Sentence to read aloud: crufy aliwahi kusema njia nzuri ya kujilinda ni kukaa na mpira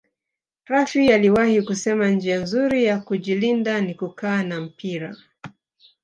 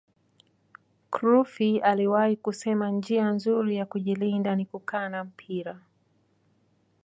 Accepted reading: second